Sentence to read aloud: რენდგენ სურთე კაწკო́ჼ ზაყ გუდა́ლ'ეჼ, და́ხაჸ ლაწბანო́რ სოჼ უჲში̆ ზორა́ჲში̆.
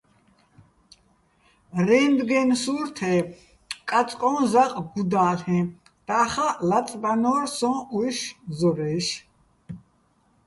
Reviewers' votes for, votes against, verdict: 2, 0, accepted